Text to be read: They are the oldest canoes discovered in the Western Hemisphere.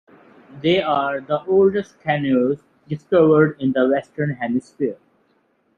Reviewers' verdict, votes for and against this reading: accepted, 2, 1